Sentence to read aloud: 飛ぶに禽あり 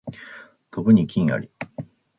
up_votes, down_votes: 2, 0